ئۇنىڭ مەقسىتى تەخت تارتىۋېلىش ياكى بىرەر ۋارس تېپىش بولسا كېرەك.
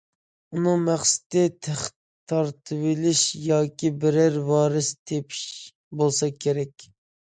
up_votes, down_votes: 2, 0